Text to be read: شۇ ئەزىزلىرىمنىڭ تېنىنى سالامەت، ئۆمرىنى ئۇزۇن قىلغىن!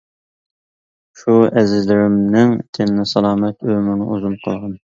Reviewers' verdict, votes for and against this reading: accepted, 2, 1